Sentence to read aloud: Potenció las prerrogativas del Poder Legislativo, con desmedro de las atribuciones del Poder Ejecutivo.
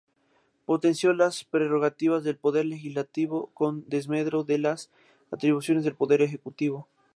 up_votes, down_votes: 2, 0